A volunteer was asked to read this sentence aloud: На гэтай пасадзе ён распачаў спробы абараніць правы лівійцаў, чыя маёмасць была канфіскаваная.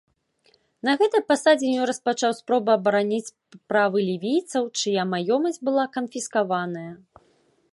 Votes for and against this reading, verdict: 2, 1, accepted